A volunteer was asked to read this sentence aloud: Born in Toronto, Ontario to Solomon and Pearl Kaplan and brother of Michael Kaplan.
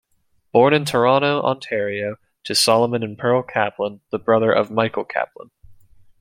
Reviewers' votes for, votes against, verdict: 2, 1, accepted